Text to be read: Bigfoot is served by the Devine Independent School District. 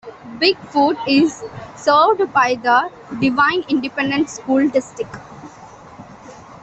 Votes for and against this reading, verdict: 2, 0, accepted